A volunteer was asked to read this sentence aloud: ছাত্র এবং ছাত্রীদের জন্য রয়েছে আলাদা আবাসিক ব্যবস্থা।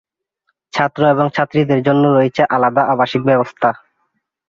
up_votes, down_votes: 2, 0